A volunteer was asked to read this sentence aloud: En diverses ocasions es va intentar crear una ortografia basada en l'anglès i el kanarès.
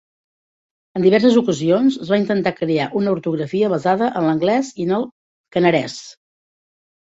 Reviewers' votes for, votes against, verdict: 0, 2, rejected